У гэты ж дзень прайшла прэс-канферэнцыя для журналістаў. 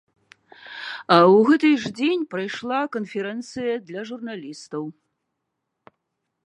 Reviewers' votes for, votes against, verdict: 0, 2, rejected